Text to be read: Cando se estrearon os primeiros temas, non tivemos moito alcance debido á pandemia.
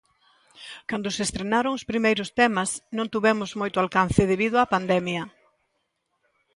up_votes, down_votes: 1, 2